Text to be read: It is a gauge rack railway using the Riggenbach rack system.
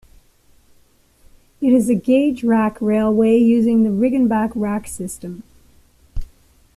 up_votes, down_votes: 2, 0